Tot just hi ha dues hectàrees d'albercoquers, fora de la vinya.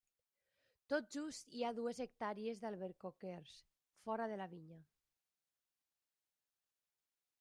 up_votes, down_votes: 3, 1